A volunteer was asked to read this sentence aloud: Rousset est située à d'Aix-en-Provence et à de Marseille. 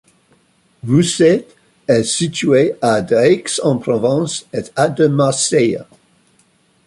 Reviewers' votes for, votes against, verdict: 2, 1, accepted